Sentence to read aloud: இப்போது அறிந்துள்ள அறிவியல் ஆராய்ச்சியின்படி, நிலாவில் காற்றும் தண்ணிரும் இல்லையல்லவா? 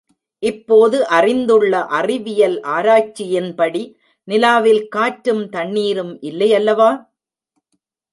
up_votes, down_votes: 0, 2